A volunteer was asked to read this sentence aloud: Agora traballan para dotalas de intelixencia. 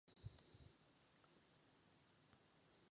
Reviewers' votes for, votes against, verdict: 0, 2, rejected